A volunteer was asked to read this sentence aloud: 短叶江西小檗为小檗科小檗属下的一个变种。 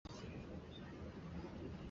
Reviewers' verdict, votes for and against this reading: rejected, 1, 5